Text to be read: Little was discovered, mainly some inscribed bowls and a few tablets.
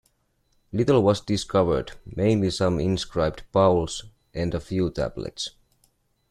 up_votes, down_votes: 1, 2